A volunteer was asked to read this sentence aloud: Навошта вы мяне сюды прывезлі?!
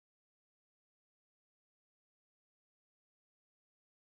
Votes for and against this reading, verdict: 0, 2, rejected